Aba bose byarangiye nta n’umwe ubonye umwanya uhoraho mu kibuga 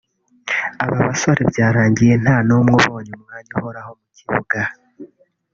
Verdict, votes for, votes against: accepted, 2, 1